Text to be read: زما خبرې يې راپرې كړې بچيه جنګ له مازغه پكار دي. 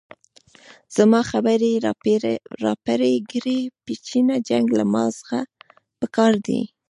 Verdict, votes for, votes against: rejected, 1, 2